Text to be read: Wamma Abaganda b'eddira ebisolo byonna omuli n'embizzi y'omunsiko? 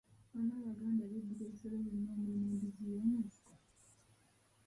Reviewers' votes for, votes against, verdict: 0, 2, rejected